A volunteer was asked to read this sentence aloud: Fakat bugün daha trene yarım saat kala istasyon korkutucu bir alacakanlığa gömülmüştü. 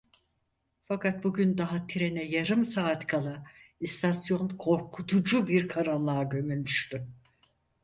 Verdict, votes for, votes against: rejected, 0, 4